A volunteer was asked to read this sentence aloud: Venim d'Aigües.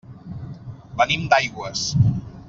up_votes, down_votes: 3, 0